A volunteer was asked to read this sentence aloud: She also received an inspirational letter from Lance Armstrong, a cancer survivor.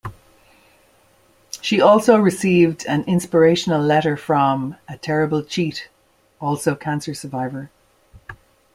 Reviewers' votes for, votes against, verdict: 0, 2, rejected